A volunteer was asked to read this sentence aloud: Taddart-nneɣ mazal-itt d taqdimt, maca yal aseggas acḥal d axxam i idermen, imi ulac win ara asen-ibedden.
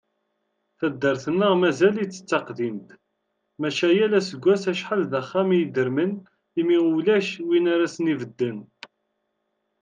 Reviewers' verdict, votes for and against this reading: accepted, 2, 0